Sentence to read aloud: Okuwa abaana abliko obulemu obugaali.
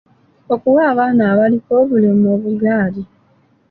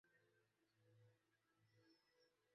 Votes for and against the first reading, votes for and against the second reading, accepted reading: 2, 0, 0, 2, first